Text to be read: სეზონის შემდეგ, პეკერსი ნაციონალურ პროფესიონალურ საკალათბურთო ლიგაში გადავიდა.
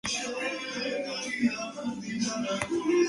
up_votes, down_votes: 0, 2